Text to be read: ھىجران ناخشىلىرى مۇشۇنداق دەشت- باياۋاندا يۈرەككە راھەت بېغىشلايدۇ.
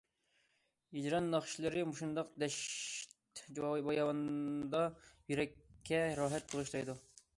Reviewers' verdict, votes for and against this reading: rejected, 0, 2